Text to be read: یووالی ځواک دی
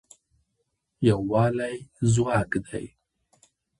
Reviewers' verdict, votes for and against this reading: accepted, 2, 0